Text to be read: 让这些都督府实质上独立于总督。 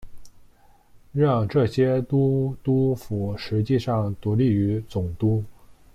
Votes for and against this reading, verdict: 0, 2, rejected